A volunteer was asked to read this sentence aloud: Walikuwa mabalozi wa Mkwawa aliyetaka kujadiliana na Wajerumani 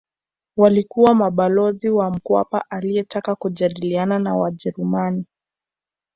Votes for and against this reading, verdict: 0, 2, rejected